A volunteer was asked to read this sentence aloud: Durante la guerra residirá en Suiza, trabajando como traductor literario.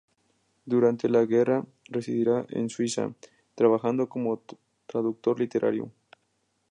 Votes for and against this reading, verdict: 2, 0, accepted